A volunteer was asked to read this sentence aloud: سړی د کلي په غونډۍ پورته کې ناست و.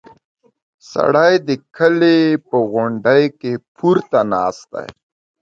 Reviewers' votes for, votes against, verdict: 0, 2, rejected